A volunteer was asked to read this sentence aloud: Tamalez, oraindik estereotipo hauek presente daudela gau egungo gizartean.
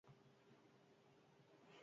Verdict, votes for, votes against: rejected, 0, 8